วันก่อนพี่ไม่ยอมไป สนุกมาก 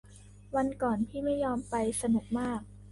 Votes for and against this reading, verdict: 2, 0, accepted